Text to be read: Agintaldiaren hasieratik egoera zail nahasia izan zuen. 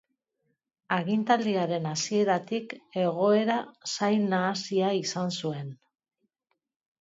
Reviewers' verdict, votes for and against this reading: accepted, 2, 0